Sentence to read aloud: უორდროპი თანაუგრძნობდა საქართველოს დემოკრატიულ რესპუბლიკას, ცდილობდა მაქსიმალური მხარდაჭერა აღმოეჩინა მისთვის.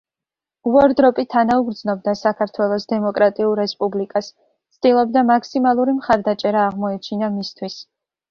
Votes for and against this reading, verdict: 2, 0, accepted